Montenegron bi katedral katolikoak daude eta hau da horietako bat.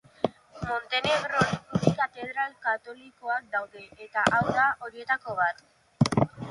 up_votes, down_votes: 2, 0